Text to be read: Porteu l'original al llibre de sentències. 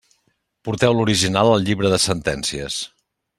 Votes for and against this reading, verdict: 3, 0, accepted